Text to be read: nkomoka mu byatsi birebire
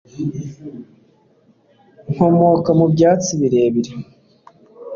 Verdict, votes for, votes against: accepted, 2, 0